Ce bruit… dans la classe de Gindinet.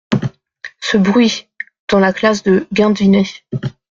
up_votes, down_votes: 2, 1